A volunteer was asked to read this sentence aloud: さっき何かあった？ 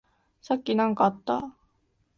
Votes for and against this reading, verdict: 2, 0, accepted